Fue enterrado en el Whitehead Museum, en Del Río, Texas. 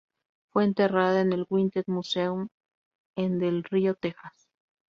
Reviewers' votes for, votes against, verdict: 0, 2, rejected